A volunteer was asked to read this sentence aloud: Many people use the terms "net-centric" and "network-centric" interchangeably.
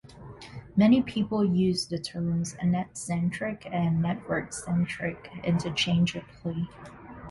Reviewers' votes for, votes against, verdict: 0, 2, rejected